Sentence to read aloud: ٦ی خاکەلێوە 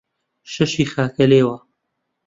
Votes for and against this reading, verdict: 0, 2, rejected